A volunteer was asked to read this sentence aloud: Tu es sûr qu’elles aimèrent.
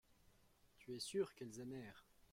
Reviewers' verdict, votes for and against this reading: accepted, 2, 1